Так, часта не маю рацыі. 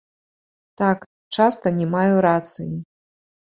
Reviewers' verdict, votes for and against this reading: rejected, 2, 3